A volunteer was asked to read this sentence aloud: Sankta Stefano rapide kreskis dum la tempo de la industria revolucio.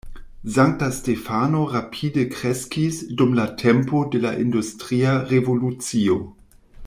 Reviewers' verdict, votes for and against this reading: rejected, 0, 2